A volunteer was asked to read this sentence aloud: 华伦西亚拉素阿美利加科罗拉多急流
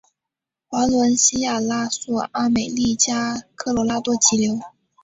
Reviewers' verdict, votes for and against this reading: accepted, 5, 0